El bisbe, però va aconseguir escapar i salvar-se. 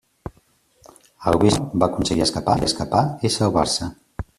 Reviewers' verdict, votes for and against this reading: rejected, 0, 2